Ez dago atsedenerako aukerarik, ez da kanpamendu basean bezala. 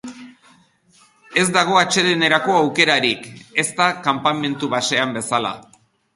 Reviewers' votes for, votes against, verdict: 3, 0, accepted